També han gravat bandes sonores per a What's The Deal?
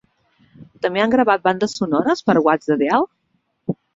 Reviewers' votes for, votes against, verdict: 0, 2, rejected